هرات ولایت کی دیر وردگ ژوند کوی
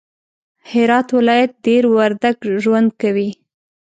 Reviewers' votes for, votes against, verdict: 2, 0, accepted